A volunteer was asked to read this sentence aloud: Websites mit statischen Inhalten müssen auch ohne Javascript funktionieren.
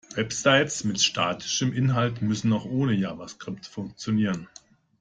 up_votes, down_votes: 1, 2